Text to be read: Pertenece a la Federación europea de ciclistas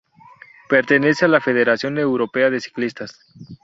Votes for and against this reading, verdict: 2, 0, accepted